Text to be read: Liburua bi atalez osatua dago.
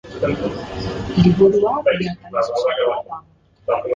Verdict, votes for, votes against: rejected, 0, 2